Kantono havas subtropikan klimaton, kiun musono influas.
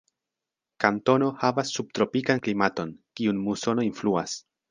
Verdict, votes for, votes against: accepted, 2, 1